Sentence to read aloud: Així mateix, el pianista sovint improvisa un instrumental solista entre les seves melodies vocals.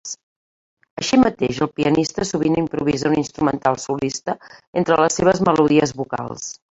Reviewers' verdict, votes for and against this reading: rejected, 1, 2